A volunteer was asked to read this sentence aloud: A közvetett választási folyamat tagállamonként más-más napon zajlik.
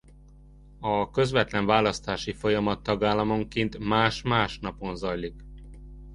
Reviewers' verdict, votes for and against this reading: rejected, 0, 2